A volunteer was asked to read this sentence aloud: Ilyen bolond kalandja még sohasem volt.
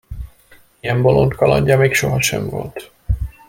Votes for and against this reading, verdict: 2, 0, accepted